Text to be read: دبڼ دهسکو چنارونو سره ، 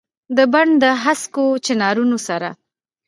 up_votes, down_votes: 1, 2